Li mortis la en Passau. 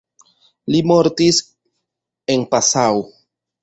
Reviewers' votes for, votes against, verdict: 0, 2, rejected